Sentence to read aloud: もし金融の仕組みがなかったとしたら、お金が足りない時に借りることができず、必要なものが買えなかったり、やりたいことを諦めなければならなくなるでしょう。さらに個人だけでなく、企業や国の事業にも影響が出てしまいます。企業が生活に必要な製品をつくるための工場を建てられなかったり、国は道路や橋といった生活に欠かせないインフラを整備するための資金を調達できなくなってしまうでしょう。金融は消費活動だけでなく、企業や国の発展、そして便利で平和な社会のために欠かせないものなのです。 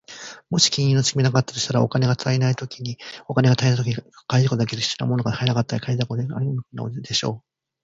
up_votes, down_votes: 2, 1